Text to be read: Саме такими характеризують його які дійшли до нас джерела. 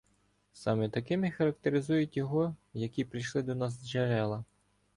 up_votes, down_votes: 1, 2